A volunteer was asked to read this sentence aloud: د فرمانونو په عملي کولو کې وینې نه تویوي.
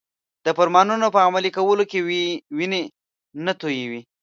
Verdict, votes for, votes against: rejected, 1, 2